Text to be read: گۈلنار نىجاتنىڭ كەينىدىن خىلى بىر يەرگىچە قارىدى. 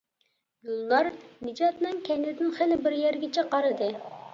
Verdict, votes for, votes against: rejected, 0, 2